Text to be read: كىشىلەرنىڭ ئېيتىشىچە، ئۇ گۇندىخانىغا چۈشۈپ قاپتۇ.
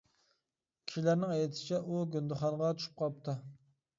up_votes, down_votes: 2, 1